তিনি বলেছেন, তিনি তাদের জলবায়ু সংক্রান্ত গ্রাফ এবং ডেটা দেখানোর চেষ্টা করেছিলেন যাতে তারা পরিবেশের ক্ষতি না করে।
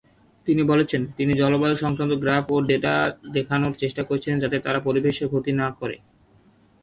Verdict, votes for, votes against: rejected, 0, 2